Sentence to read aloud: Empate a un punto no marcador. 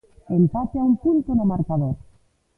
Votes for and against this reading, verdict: 2, 1, accepted